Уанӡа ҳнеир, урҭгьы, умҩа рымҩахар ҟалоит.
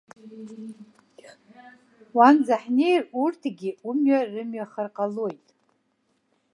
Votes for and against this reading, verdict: 2, 0, accepted